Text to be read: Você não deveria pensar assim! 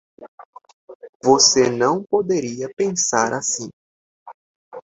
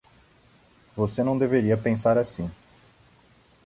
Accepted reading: second